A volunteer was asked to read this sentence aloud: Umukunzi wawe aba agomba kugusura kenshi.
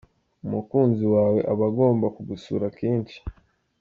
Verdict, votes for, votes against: accepted, 2, 0